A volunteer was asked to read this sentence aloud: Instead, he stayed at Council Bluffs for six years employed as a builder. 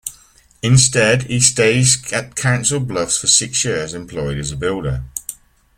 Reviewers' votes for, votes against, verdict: 2, 1, accepted